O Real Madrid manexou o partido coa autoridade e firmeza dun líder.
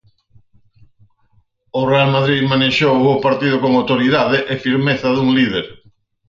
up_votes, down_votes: 0, 4